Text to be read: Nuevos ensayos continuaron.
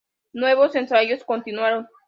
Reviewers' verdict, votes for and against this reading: accepted, 2, 0